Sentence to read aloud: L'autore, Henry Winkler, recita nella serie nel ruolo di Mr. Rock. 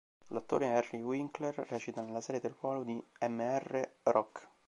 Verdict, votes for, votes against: rejected, 1, 2